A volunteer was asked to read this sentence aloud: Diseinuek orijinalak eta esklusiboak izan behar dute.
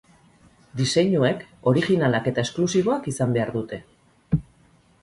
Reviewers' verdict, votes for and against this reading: accepted, 2, 0